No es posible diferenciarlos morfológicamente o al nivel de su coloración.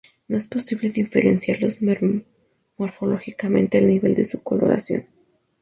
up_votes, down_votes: 2, 2